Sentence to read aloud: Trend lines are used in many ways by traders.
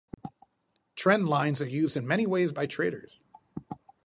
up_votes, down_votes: 4, 0